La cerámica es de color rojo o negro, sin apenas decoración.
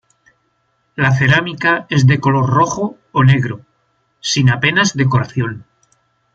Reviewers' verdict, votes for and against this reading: accepted, 2, 0